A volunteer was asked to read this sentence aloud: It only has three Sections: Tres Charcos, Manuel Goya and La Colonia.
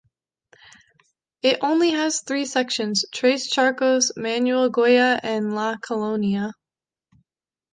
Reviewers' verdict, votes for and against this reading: accepted, 2, 0